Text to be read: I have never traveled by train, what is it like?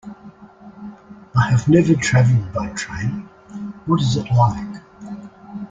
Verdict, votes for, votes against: accepted, 2, 1